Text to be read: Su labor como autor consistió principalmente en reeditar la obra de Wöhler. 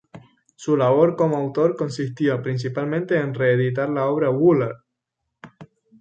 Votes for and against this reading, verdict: 4, 0, accepted